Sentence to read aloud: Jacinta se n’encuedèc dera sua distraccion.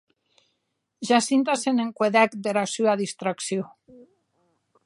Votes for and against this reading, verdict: 2, 0, accepted